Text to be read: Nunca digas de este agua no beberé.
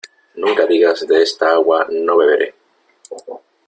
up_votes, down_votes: 0, 2